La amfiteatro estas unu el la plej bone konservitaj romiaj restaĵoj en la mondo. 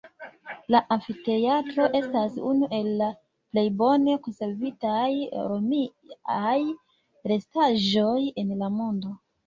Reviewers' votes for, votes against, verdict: 2, 1, accepted